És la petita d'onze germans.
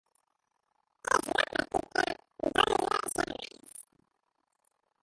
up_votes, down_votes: 0, 2